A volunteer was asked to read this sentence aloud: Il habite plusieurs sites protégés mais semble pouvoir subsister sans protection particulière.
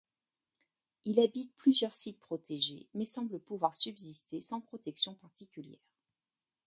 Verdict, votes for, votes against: accepted, 2, 1